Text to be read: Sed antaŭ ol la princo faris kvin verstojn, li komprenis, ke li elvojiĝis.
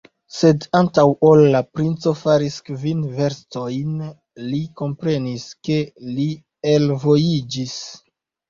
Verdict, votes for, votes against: accepted, 2, 1